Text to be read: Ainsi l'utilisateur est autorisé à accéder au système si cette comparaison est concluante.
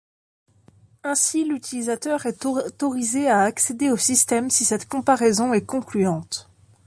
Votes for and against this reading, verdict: 0, 2, rejected